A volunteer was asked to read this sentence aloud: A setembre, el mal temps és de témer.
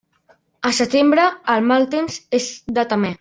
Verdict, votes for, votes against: rejected, 0, 2